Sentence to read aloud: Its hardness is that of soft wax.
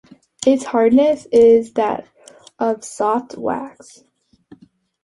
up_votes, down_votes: 2, 0